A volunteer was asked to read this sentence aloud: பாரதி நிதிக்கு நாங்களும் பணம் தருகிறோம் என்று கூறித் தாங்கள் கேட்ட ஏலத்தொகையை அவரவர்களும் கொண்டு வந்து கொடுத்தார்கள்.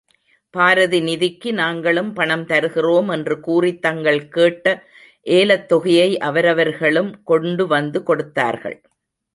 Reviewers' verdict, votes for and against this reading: rejected, 0, 2